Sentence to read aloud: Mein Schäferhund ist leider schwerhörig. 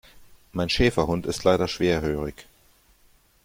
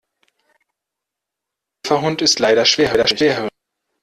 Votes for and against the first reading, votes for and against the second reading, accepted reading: 2, 0, 0, 2, first